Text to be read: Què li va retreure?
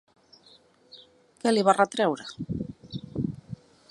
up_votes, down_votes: 2, 0